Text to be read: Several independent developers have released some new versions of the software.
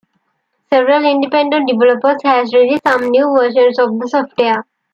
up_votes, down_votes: 2, 1